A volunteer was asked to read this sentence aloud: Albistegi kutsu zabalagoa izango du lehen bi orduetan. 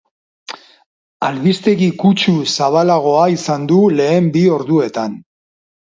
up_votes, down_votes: 0, 4